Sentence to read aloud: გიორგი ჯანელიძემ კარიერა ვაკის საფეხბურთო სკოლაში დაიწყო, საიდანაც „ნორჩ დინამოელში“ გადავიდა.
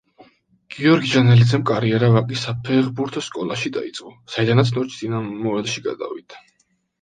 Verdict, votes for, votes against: rejected, 0, 2